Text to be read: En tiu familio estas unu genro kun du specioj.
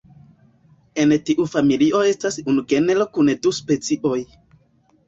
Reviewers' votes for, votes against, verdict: 0, 2, rejected